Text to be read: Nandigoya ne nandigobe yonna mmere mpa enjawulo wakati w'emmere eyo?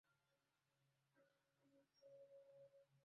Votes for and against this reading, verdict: 0, 2, rejected